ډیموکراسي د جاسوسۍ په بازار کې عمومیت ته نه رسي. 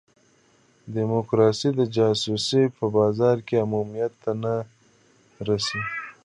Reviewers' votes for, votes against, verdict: 2, 1, accepted